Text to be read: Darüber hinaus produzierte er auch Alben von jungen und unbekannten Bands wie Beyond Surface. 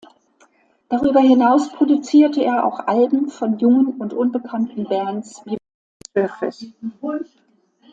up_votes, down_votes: 0, 2